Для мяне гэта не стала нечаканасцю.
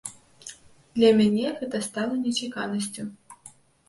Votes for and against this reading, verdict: 0, 2, rejected